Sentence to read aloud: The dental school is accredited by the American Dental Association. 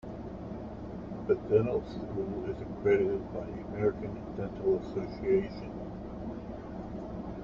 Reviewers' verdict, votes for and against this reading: rejected, 1, 2